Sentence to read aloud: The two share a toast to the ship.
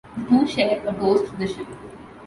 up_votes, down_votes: 1, 2